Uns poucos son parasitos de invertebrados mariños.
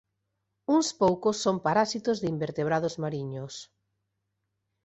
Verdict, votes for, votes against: rejected, 1, 2